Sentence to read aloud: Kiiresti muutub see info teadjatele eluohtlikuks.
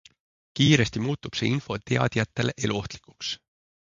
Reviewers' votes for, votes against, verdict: 2, 0, accepted